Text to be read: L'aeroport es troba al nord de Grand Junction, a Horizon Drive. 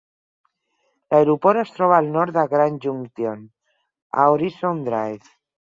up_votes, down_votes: 6, 0